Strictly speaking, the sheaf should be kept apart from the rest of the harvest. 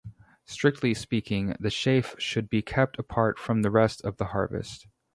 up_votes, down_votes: 2, 2